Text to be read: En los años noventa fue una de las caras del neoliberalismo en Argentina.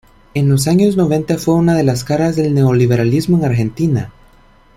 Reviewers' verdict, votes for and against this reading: accepted, 2, 0